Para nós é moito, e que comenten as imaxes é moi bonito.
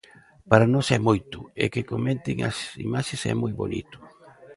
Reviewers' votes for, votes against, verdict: 1, 2, rejected